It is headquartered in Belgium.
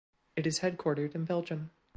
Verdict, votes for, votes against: accepted, 2, 0